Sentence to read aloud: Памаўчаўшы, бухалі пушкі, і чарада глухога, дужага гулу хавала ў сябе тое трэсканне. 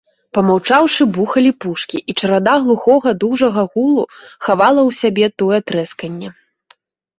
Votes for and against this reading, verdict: 2, 0, accepted